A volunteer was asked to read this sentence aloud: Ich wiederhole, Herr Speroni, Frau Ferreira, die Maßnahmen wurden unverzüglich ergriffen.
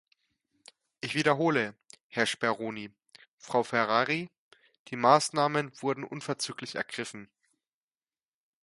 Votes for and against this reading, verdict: 1, 2, rejected